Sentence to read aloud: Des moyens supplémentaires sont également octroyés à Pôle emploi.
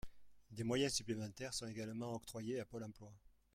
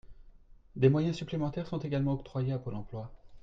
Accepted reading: second